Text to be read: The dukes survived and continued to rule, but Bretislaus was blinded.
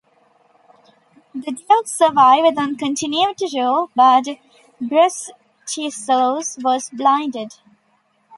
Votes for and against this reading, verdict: 0, 2, rejected